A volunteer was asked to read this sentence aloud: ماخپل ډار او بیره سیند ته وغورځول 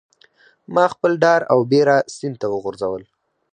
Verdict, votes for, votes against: accepted, 4, 0